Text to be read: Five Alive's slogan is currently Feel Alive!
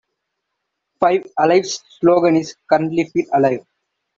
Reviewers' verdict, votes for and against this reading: accepted, 2, 1